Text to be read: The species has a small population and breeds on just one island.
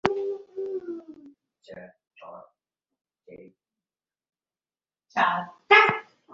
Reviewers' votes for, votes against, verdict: 0, 2, rejected